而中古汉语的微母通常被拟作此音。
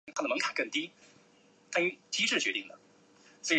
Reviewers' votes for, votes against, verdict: 1, 2, rejected